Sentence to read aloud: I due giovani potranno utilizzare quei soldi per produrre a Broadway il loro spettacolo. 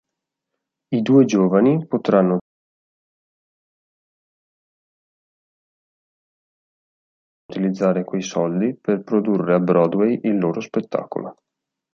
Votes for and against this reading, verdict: 0, 2, rejected